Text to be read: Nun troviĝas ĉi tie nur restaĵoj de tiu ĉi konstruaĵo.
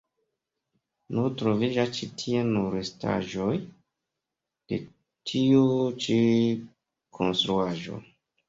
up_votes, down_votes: 2, 1